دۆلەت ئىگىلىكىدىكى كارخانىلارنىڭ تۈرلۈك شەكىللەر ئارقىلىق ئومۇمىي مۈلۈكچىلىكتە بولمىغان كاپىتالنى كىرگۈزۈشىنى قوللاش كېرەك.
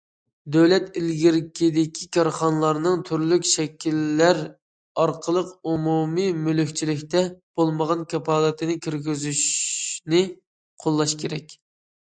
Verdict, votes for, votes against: rejected, 1, 2